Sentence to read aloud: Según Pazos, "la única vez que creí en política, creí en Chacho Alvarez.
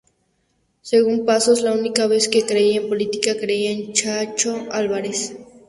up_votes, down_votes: 2, 0